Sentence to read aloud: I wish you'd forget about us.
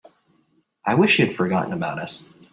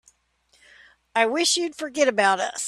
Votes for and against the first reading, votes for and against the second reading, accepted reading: 0, 4, 3, 0, second